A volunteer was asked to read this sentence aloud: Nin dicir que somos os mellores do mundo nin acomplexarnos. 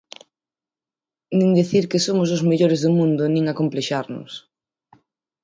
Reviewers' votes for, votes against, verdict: 6, 0, accepted